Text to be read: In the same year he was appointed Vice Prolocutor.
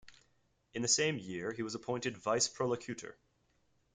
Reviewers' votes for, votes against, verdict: 2, 1, accepted